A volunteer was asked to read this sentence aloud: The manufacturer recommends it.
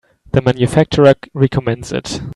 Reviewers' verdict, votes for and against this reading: rejected, 1, 2